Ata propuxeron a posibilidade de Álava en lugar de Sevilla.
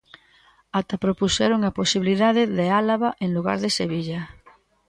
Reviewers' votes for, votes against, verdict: 2, 0, accepted